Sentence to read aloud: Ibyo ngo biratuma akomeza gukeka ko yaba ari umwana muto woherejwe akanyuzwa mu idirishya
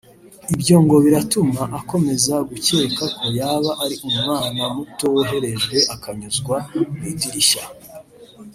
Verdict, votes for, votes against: rejected, 0, 2